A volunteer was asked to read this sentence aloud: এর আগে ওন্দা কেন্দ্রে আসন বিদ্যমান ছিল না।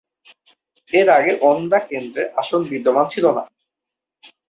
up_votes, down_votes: 2, 2